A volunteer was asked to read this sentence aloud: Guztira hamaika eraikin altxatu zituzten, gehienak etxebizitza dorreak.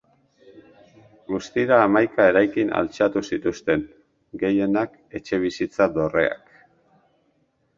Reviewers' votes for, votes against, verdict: 2, 0, accepted